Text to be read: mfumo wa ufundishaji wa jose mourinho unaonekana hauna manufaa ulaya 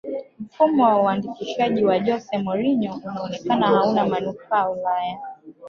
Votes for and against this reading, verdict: 0, 2, rejected